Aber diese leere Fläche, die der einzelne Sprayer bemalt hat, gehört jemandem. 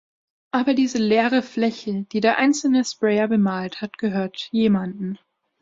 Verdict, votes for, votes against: accepted, 2, 0